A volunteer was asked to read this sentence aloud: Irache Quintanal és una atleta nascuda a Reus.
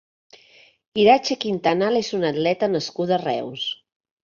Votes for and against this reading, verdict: 2, 0, accepted